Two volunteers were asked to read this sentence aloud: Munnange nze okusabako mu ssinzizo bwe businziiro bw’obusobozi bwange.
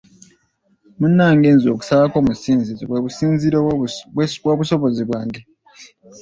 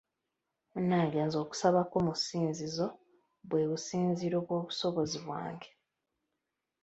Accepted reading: second